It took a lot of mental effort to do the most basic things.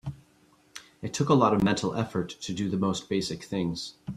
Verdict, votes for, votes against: accepted, 2, 0